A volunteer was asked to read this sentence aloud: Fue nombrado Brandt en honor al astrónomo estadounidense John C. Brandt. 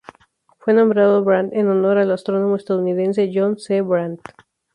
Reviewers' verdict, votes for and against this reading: rejected, 2, 2